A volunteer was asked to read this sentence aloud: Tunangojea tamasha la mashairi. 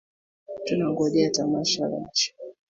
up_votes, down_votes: 0, 2